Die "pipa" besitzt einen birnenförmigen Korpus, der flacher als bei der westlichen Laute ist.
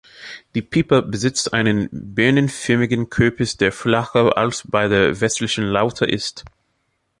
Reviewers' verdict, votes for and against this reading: rejected, 0, 2